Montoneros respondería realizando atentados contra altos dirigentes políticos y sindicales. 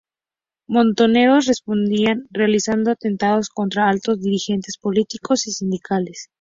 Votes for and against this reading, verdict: 0, 2, rejected